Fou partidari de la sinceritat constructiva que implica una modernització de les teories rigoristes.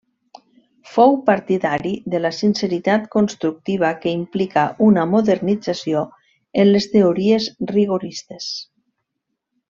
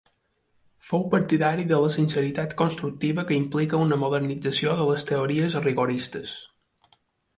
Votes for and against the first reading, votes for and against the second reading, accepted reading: 1, 2, 2, 0, second